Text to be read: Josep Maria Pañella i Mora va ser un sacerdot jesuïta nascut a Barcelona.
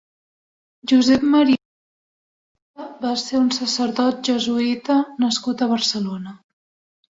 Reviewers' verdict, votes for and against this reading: rejected, 0, 3